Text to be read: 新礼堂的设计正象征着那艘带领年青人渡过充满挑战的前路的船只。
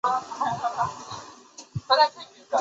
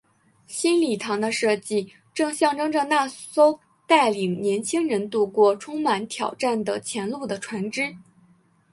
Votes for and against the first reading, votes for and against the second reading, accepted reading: 0, 2, 2, 1, second